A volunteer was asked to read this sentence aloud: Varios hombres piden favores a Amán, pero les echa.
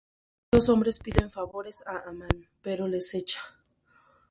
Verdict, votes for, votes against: rejected, 0, 2